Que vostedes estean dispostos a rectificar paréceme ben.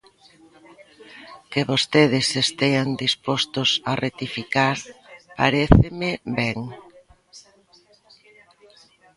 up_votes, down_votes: 2, 0